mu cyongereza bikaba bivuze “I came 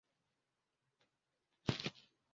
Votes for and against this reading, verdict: 0, 2, rejected